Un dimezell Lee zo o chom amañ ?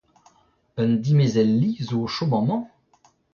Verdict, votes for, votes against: rejected, 0, 2